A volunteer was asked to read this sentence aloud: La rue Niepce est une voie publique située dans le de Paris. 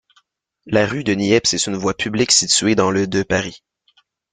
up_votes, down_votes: 0, 2